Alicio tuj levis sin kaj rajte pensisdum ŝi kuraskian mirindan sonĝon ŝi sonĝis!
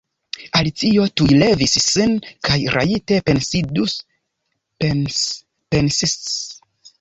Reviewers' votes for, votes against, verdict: 0, 2, rejected